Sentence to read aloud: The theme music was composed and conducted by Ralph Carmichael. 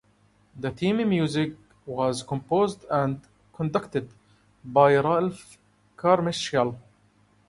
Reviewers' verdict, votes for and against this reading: accepted, 2, 0